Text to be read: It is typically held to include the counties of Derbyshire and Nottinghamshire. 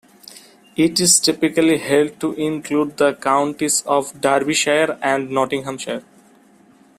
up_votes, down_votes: 2, 0